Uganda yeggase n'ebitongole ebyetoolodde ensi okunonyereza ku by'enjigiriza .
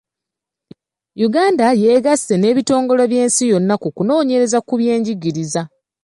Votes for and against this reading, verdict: 0, 2, rejected